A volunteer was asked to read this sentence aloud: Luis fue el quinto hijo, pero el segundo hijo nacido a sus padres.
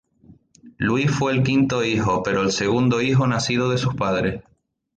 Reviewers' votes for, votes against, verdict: 2, 0, accepted